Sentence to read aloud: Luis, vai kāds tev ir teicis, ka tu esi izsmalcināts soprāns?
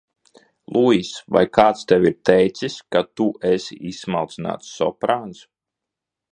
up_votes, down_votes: 2, 0